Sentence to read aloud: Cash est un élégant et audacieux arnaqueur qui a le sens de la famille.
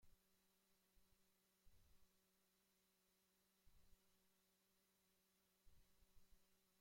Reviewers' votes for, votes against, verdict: 0, 2, rejected